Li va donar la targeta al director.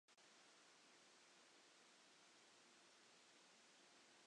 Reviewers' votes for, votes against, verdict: 0, 2, rejected